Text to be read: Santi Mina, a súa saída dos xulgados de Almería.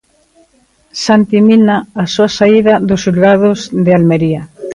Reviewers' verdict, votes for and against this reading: rejected, 1, 2